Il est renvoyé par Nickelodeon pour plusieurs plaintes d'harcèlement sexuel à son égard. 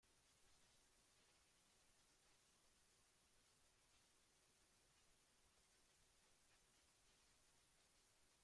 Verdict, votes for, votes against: rejected, 0, 2